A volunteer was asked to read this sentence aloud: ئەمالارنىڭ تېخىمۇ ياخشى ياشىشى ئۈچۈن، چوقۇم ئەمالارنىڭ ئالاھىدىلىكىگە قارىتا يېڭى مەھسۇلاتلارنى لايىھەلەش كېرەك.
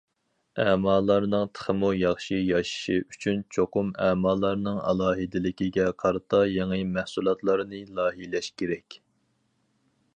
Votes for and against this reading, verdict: 2, 4, rejected